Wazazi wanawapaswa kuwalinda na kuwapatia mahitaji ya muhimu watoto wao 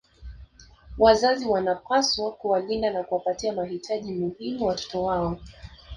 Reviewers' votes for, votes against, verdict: 1, 2, rejected